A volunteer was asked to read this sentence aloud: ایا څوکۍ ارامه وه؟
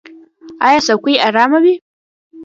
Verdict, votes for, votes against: rejected, 1, 2